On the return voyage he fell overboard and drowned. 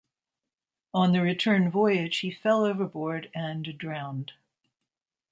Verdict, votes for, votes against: accepted, 4, 0